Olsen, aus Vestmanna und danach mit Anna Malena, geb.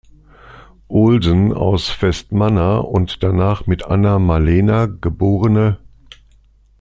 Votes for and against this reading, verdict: 2, 0, accepted